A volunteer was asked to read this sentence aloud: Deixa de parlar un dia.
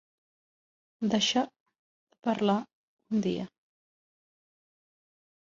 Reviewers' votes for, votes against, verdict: 0, 2, rejected